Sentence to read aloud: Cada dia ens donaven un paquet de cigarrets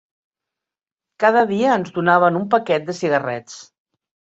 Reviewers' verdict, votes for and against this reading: accepted, 3, 1